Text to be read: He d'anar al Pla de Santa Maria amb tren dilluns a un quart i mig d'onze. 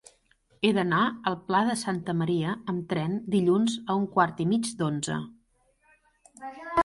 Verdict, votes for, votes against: rejected, 1, 2